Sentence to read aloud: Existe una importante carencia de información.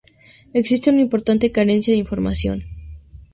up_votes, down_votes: 2, 0